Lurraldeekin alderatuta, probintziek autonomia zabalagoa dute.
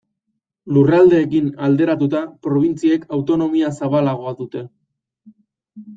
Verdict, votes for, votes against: accepted, 2, 0